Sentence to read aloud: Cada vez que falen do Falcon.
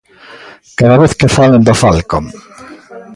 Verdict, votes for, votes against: rejected, 1, 2